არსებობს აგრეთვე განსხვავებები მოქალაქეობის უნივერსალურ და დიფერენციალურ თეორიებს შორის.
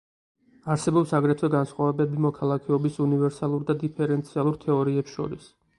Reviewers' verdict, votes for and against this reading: accepted, 4, 0